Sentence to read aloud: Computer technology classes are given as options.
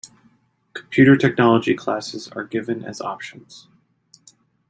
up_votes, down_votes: 2, 0